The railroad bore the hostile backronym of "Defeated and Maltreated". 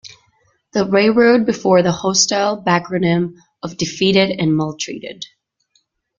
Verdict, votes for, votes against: rejected, 1, 2